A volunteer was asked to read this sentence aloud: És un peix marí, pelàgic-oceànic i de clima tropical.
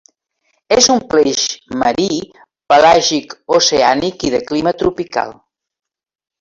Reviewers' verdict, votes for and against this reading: accepted, 3, 0